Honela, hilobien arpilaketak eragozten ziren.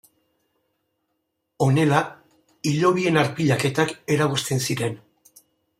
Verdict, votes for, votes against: accepted, 2, 0